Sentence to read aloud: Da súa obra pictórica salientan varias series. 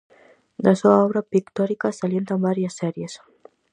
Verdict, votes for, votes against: accepted, 4, 0